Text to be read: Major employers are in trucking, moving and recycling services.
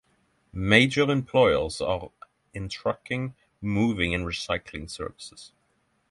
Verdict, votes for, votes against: accepted, 6, 0